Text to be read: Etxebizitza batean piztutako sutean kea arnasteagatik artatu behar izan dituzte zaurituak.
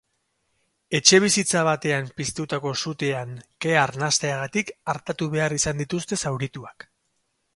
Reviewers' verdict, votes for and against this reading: accepted, 4, 0